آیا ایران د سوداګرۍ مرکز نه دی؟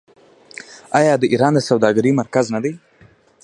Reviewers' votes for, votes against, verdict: 0, 2, rejected